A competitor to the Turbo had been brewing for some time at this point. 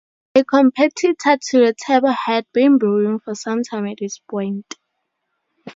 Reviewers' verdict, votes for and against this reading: rejected, 2, 2